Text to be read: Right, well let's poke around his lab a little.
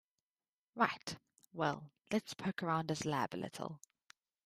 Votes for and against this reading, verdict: 2, 0, accepted